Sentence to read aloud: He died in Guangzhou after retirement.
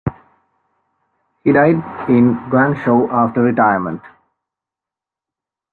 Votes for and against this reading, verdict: 1, 2, rejected